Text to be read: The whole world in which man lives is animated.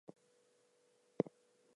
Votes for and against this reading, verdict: 0, 4, rejected